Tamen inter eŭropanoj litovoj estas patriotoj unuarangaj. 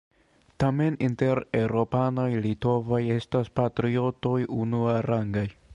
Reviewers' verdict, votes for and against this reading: accepted, 2, 1